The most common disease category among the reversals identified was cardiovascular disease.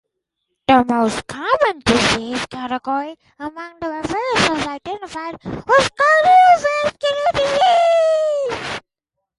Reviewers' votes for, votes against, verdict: 2, 2, rejected